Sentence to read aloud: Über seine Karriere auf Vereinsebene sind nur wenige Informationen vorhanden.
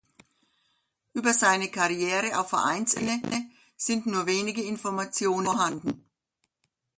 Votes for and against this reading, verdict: 0, 2, rejected